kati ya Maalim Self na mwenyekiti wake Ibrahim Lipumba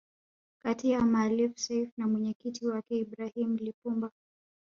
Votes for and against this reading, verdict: 5, 0, accepted